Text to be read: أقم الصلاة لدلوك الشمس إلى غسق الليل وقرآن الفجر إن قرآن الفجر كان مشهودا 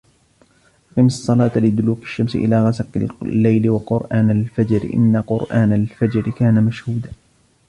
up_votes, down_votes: 1, 2